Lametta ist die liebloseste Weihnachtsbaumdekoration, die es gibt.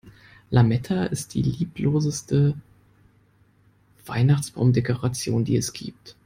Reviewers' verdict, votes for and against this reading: accepted, 2, 0